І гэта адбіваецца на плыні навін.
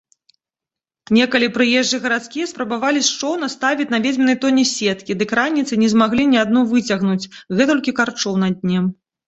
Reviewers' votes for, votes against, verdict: 0, 2, rejected